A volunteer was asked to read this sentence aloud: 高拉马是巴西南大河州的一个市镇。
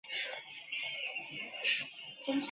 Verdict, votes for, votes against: rejected, 0, 2